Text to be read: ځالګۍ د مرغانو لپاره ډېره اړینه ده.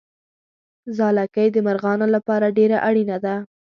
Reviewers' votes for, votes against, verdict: 2, 0, accepted